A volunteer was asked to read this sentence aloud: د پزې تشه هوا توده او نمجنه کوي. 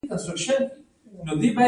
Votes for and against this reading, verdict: 1, 2, rejected